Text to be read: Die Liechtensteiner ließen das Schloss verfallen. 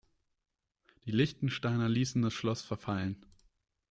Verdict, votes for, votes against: rejected, 1, 2